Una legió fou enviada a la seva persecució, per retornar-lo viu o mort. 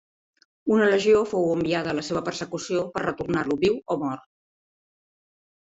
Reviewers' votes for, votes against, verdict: 2, 0, accepted